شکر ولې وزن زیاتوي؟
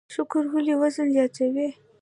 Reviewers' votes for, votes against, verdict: 1, 2, rejected